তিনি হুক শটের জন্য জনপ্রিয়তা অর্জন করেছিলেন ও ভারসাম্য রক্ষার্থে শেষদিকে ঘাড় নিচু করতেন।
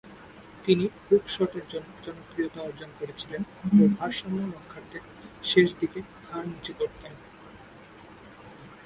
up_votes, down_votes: 0, 2